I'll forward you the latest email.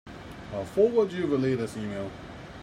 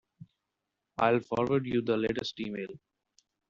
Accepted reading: second